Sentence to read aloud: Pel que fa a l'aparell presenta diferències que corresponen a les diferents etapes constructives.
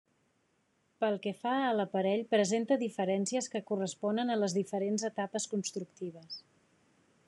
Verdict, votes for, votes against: accepted, 3, 0